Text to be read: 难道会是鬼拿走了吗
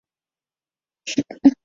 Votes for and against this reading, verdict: 0, 3, rejected